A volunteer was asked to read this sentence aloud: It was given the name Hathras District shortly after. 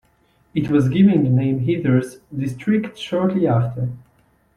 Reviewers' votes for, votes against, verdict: 2, 0, accepted